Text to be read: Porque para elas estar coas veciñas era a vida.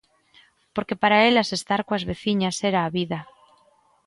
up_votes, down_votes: 2, 0